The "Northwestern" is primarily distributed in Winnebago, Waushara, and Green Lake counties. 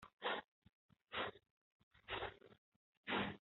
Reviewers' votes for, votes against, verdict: 0, 2, rejected